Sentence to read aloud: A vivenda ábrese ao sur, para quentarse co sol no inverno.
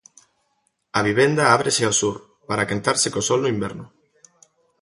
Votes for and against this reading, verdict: 2, 0, accepted